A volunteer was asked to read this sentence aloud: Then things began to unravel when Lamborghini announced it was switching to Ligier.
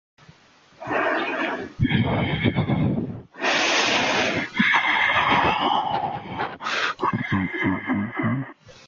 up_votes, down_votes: 0, 2